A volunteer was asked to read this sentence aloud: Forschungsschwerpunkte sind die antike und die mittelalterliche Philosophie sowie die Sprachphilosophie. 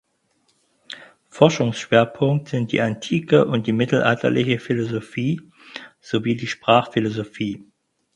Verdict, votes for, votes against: rejected, 2, 4